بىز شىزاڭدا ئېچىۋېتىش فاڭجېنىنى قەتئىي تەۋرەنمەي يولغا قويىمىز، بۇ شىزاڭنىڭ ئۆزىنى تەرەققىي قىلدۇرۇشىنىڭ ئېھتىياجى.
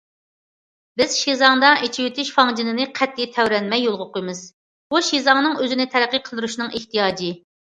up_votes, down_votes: 2, 0